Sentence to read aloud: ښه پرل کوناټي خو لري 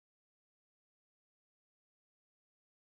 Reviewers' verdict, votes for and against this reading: rejected, 0, 2